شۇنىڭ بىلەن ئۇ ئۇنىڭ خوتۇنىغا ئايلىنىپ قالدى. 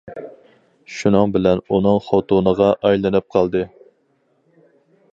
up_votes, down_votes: 2, 2